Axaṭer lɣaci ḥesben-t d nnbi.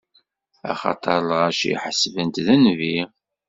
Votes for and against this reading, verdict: 2, 0, accepted